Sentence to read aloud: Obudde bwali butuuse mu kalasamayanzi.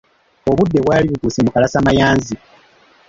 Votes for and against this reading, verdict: 2, 0, accepted